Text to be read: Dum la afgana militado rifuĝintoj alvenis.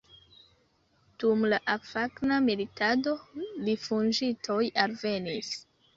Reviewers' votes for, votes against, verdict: 0, 2, rejected